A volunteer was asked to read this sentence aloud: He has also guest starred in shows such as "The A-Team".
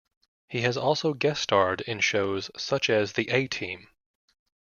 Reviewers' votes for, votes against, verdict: 2, 0, accepted